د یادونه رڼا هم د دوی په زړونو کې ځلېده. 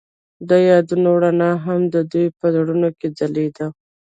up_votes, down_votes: 0, 2